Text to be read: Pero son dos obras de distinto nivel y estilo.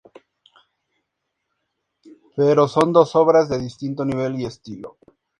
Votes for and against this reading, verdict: 2, 0, accepted